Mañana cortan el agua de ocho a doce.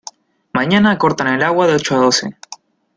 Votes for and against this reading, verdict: 2, 0, accepted